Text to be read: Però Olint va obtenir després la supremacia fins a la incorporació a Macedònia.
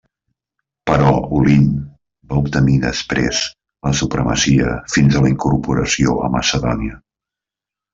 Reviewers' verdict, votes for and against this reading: accepted, 2, 0